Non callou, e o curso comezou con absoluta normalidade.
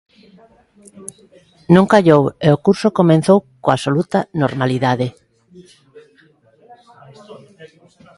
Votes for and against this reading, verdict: 0, 2, rejected